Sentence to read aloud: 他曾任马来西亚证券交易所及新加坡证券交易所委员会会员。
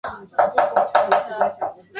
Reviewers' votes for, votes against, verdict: 1, 3, rejected